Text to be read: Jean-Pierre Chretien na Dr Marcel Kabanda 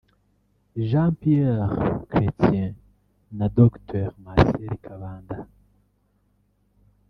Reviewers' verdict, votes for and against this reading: accepted, 2, 1